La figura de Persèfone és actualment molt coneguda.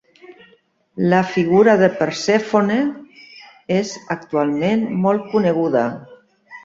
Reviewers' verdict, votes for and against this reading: rejected, 0, 2